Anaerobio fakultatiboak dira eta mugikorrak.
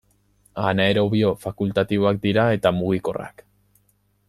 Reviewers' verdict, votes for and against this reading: accepted, 2, 0